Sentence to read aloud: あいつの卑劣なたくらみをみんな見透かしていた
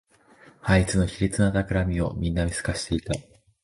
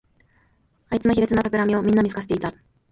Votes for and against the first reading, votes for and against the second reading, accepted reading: 2, 1, 1, 2, first